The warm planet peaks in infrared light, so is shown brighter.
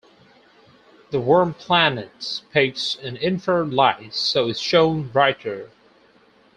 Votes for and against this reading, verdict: 2, 4, rejected